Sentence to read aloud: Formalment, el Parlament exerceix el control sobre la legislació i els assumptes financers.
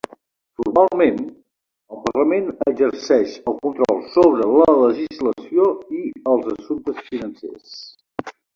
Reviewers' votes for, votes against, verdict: 0, 2, rejected